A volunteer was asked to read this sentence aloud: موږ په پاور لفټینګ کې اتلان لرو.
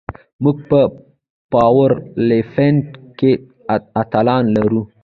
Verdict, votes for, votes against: rejected, 0, 2